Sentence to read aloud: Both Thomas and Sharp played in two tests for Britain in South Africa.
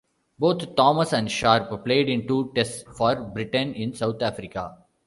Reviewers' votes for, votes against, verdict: 1, 2, rejected